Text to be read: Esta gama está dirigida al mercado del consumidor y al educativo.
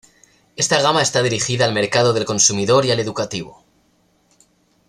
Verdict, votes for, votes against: accepted, 2, 0